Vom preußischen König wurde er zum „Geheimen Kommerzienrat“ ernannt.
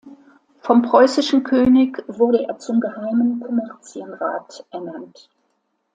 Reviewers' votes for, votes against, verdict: 2, 1, accepted